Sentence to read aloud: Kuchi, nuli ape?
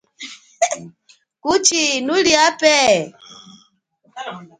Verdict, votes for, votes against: rejected, 1, 2